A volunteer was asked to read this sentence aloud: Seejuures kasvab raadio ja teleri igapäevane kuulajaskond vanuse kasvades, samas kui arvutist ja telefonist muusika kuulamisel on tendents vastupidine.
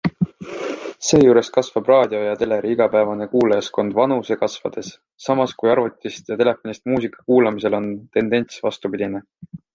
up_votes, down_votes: 2, 0